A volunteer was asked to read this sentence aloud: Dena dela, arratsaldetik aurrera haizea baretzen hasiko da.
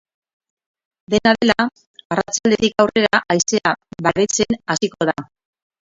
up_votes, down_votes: 2, 4